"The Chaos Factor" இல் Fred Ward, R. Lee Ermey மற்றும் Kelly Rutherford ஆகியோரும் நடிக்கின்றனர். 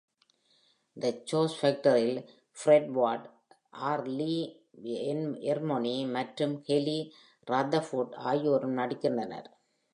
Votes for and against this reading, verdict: 0, 2, rejected